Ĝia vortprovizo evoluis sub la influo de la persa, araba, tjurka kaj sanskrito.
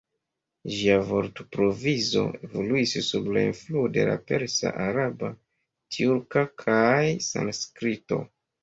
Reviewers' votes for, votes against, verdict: 1, 2, rejected